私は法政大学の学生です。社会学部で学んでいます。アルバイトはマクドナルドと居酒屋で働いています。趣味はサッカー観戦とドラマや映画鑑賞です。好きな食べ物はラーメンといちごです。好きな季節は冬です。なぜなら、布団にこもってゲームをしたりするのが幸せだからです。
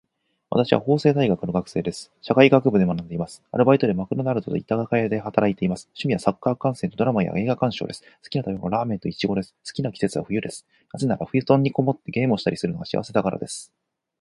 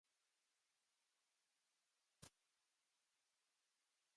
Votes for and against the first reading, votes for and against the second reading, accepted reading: 4, 2, 0, 2, first